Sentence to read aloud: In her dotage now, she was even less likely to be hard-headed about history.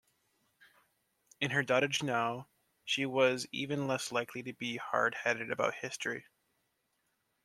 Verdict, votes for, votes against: rejected, 1, 2